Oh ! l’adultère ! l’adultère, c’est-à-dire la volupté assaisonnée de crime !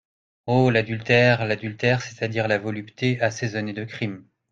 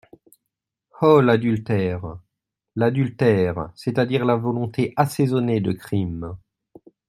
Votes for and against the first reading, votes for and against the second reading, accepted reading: 2, 1, 0, 2, first